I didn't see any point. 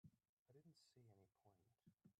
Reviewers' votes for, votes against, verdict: 0, 2, rejected